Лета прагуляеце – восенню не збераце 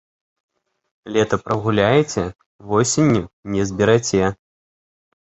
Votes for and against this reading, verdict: 2, 0, accepted